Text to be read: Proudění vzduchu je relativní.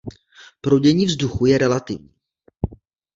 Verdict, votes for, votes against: rejected, 1, 2